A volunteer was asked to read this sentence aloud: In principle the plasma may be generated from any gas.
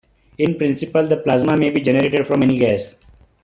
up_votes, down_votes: 1, 2